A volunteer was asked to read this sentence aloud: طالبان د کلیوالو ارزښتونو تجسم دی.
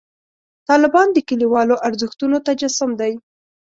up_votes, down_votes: 2, 0